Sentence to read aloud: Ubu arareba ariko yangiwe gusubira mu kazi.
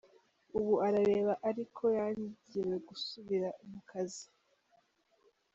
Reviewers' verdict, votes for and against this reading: rejected, 1, 2